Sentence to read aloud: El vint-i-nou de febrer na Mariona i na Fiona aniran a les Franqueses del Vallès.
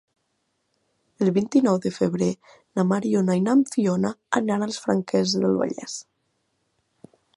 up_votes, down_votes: 1, 2